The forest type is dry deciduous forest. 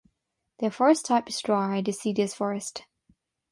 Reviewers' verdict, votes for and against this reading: rejected, 3, 6